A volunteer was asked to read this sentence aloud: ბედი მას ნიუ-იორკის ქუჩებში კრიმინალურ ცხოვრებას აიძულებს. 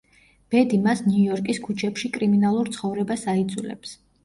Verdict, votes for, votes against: accepted, 2, 0